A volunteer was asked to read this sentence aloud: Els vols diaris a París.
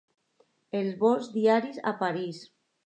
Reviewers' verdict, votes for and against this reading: accepted, 2, 0